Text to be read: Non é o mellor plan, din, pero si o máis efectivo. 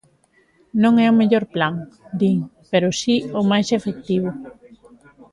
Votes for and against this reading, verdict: 1, 2, rejected